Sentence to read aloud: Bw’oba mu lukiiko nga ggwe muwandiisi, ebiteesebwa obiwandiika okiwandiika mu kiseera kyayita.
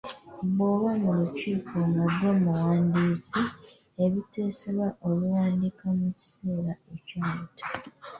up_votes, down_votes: 1, 2